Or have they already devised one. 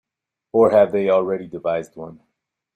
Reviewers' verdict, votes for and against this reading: accepted, 2, 0